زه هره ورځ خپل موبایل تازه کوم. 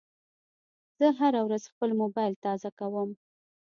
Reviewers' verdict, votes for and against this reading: accepted, 2, 0